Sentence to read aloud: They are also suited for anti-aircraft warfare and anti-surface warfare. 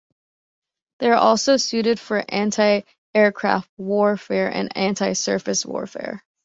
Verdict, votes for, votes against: accepted, 2, 0